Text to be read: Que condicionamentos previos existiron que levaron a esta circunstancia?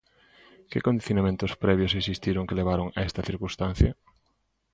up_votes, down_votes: 2, 0